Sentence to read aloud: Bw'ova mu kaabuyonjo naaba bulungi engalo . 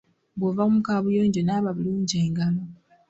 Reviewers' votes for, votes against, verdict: 2, 0, accepted